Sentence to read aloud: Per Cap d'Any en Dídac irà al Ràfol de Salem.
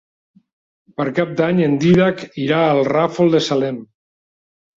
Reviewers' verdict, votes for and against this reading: accepted, 3, 0